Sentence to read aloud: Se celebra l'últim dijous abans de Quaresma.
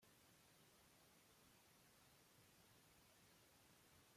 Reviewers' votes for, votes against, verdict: 0, 2, rejected